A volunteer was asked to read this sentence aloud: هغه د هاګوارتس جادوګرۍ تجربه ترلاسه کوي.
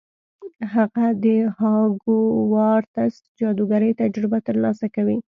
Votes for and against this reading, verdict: 2, 0, accepted